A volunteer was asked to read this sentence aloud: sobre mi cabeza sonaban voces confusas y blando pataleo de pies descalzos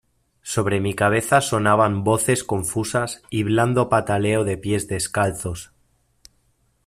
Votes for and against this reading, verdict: 2, 0, accepted